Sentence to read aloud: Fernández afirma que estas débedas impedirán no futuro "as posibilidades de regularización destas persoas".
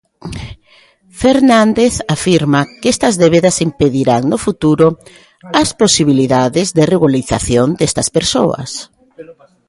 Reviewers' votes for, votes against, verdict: 1, 2, rejected